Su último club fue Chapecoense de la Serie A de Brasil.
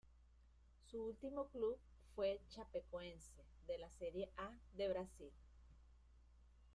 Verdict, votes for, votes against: rejected, 0, 2